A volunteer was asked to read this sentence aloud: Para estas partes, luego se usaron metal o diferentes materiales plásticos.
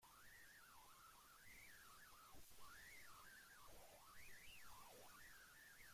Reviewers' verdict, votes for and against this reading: rejected, 0, 2